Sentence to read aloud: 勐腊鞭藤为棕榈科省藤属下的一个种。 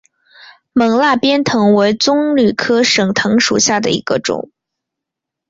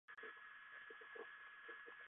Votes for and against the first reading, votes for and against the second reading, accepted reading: 2, 1, 1, 2, first